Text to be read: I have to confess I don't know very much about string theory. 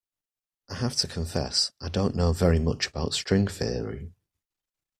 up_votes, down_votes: 2, 0